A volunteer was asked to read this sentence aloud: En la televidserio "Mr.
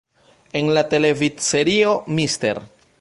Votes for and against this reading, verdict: 1, 2, rejected